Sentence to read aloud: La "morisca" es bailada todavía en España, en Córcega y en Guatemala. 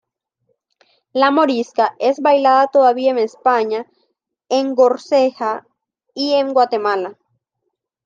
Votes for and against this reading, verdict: 1, 3, rejected